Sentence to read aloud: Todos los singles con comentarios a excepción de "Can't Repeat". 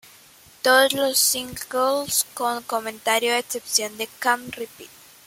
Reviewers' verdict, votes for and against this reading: accepted, 2, 1